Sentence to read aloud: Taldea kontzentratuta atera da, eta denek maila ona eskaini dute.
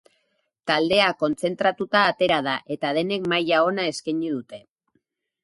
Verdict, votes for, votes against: accepted, 4, 0